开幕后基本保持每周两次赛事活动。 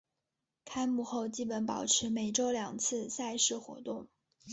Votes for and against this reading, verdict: 5, 0, accepted